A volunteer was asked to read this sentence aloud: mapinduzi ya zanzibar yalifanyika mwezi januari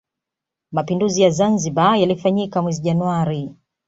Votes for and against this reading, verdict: 2, 0, accepted